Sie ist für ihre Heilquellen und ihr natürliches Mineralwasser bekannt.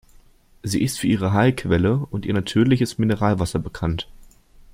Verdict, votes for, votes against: accepted, 2, 1